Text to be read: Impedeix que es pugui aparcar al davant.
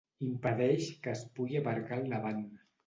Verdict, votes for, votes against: accepted, 2, 0